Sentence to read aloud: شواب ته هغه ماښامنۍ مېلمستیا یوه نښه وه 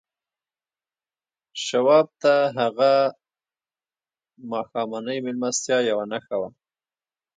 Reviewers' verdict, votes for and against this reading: rejected, 1, 2